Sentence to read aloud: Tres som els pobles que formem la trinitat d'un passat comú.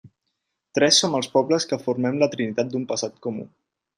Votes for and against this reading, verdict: 6, 0, accepted